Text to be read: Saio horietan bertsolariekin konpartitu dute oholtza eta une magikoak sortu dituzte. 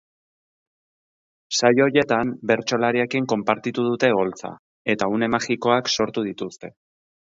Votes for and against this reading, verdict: 2, 4, rejected